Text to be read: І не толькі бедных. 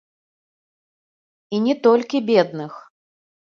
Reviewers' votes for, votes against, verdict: 2, 0, accepted